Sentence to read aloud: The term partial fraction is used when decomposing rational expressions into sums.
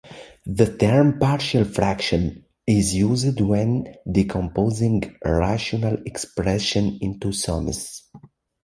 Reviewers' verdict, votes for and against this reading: accepted, 2, 1